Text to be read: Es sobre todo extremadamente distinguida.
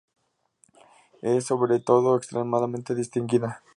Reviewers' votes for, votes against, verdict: 4, 0, accepted